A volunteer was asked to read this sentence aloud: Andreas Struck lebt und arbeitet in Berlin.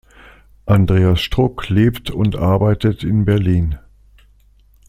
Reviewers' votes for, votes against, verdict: 2, 0, accepted